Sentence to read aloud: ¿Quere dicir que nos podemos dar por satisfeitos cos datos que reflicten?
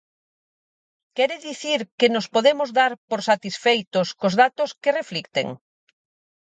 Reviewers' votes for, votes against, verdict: 6, 0, accepted